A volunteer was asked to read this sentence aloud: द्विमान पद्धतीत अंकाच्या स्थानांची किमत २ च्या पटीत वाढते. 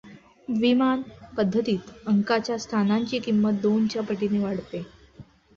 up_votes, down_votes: 0, 2